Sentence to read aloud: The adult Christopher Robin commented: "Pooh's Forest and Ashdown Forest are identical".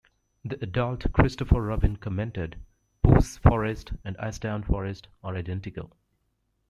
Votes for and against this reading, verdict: 2, 0, accepted